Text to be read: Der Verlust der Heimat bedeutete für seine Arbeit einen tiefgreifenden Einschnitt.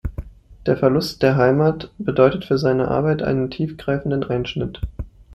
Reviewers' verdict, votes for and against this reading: rejected, 1, 2